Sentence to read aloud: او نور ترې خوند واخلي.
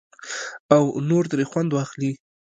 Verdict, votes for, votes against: accepted, 3, 0